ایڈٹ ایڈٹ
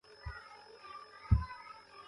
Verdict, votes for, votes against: rejected, 0, 2